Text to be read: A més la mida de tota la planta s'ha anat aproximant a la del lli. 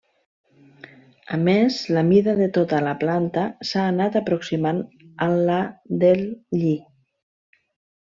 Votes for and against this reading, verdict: 1, 2, rejected